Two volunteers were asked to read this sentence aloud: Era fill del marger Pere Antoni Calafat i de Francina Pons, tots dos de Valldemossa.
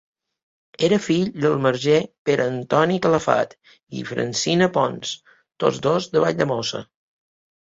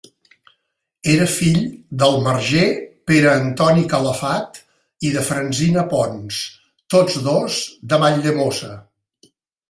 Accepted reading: second